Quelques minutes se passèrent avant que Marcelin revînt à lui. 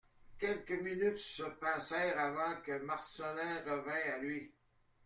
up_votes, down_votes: 2, 0